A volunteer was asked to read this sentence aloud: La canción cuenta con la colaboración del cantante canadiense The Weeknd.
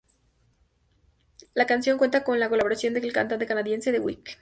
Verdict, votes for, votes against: accepted, 2, 0